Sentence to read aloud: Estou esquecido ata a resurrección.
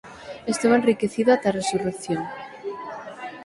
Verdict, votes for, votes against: rejected, 3, 6